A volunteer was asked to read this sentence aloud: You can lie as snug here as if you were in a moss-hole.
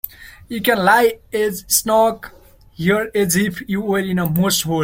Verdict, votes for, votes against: rejected, 0, 2